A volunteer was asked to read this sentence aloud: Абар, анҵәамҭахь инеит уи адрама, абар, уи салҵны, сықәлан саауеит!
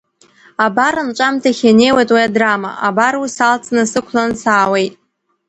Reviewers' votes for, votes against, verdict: 2, 0, accepted